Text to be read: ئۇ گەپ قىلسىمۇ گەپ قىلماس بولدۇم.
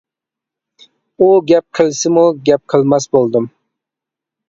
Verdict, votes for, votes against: accepted, 2, 0